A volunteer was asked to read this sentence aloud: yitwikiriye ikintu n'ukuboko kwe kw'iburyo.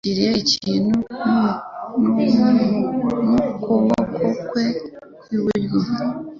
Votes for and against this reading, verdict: 1, 2, rejected